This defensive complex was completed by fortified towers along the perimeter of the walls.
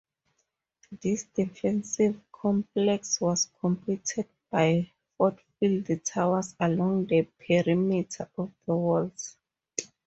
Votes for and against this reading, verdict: 0, 4, rejected